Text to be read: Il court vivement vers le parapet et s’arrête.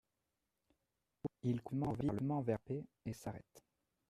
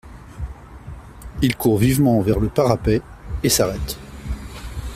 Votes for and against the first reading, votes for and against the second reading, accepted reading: 0, 2, 2, 0, second